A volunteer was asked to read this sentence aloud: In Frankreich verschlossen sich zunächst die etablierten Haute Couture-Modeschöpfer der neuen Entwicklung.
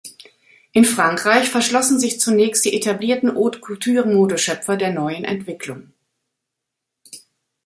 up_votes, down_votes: 2, 0